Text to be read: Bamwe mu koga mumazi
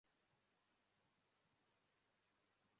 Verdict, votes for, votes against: rejected, 0, 2